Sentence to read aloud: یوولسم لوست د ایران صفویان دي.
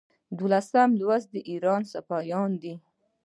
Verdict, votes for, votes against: rejected, 0, 2